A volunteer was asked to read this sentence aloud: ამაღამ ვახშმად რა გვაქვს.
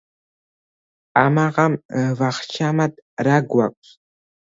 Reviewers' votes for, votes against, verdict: 1, 2, rejected